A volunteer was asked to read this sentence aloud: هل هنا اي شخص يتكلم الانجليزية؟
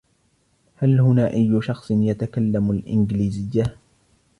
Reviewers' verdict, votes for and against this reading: accepted, 2, 0